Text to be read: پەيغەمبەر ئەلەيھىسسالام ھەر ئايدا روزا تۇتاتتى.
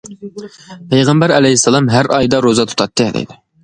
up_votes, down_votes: 0, 2